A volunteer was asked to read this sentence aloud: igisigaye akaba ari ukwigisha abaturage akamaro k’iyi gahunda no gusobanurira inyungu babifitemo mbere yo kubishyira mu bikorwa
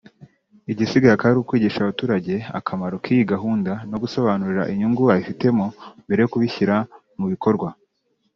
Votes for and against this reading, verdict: 2, 0, accepted